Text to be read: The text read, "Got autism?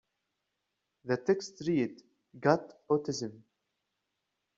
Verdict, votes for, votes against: rejected, 0, 2